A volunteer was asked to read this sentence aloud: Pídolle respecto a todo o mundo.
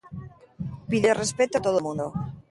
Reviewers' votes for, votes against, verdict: 0, 3, rejected